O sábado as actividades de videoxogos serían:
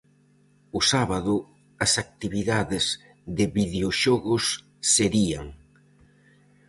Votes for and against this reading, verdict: 4, 0, accepted